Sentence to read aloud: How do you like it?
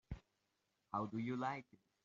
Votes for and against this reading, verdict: 0, 2, rejected